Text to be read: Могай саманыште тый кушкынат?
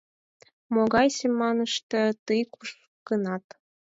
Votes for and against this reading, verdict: 0, 6, rejected